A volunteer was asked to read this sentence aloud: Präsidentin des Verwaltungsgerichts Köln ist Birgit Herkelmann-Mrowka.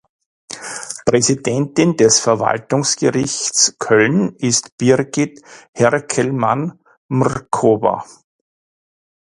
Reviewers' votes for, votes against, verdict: 0, 2, rejected